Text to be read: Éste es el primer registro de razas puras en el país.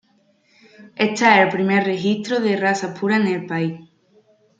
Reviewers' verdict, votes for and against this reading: rejected, 0, 2